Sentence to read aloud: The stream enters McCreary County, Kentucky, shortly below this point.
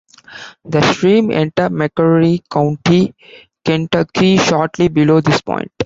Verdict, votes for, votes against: rejected, 0, 2